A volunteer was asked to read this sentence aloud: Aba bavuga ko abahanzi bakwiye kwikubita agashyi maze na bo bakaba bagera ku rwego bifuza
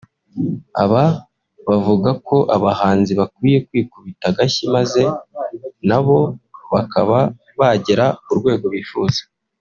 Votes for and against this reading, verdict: 2, 0, accepted